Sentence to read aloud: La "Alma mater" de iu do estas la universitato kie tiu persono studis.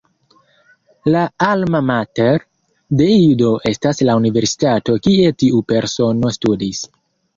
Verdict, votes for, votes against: rejected, 1, 2